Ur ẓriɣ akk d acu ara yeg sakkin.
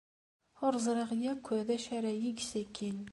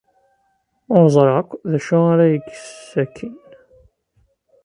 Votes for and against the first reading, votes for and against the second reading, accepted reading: 2, 0, 1, 2, first